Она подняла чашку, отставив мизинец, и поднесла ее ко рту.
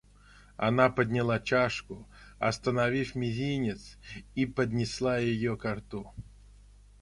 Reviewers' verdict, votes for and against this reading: accepted, 2, 1